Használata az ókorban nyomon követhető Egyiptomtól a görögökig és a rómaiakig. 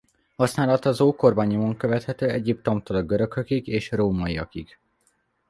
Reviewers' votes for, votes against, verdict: 2, 0, accepted